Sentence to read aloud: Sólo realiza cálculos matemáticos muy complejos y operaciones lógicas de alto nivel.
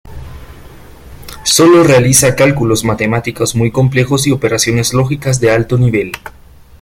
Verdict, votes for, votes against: accepted, 2, 0